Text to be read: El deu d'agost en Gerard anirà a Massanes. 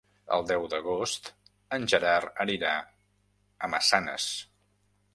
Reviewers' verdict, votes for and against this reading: accepted, 2, 0